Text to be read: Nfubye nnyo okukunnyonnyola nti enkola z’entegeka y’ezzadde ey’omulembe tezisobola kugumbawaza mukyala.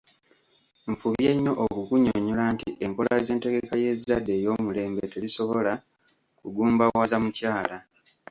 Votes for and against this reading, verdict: 1, 2, rejected